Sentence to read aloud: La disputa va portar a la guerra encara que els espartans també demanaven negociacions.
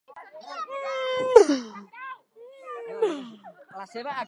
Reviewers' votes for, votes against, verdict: 0, 2, rejected